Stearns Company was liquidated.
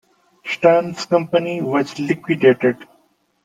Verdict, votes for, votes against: accepted, 2, 0